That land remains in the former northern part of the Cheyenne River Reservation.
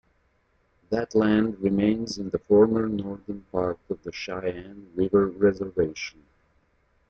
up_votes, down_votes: 2, 1